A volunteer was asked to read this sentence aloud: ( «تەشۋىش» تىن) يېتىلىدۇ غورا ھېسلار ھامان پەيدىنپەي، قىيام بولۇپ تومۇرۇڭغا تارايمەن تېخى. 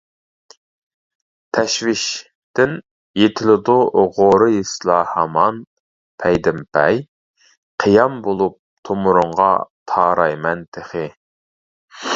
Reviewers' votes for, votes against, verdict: 0, 2, rejected